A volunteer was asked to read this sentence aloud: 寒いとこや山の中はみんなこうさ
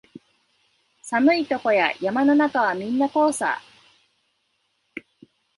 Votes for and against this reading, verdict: 2, 0, accepted